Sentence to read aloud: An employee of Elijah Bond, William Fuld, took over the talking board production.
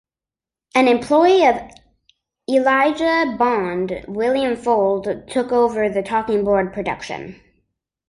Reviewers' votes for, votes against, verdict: 2, 0, accepted